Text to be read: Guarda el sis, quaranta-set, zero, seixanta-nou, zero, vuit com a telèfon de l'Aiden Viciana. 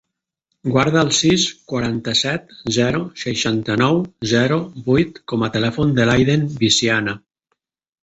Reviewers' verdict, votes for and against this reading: accepted, 3, 0